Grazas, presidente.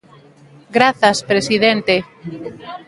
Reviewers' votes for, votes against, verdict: 2, 0, accepted